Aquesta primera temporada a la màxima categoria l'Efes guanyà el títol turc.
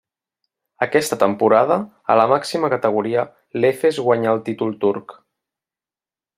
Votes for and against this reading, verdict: 0, 2, rejected